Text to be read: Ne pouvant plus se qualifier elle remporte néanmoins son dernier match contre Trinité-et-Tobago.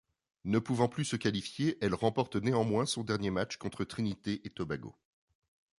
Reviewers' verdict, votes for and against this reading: accepted, 2, 0